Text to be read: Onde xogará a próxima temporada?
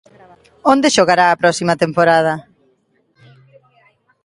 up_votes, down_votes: 1, 2